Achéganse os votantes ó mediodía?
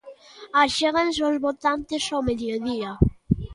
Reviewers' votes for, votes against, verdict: 1, 2, rejected